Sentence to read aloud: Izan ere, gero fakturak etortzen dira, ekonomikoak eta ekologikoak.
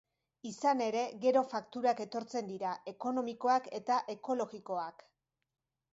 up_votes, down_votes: 4, 0